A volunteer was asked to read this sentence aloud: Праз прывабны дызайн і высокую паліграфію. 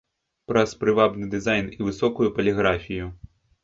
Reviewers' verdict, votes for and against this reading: rejected, 1, 2